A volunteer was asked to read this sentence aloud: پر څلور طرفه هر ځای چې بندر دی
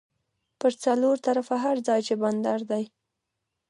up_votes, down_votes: 0, 2